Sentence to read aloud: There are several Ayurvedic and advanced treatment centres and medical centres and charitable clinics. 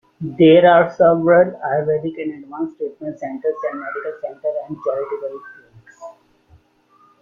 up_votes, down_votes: 1, 2